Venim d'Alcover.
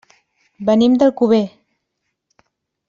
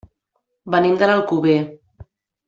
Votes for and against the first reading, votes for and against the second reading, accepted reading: 2, 0, 0, 2, first